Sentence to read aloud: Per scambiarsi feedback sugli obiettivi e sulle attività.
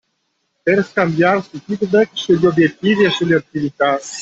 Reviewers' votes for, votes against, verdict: 2, 0, accepted